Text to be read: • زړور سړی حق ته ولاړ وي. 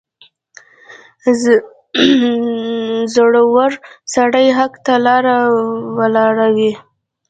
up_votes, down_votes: 1, 2